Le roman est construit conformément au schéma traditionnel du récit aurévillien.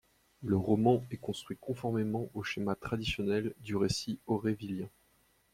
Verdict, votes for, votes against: accepted, 2, 0